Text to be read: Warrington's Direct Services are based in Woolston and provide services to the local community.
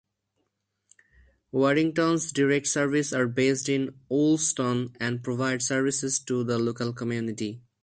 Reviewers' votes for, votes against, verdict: 0, 2, rejected